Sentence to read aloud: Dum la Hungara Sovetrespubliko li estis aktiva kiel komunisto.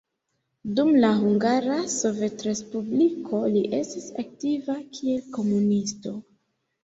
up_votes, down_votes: 2, 0